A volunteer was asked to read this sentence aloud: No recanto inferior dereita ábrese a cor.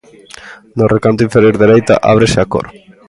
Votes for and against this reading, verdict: 2, 0, accepted